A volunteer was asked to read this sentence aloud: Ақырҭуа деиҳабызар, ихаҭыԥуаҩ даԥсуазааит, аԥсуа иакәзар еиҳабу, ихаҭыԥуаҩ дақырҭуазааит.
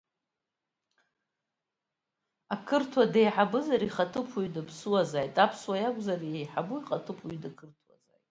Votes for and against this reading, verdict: 1, 2, rejected